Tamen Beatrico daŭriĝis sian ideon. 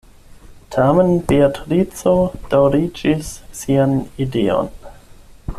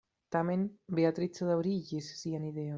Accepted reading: first